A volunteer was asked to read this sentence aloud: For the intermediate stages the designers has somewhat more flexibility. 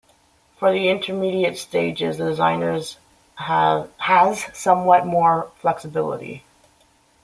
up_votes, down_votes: 0, 2